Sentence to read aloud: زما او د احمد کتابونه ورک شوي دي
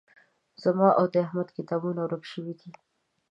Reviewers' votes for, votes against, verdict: 2, 0, accepted